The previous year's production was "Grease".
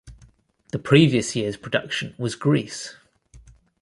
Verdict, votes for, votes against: accepted, 3, 1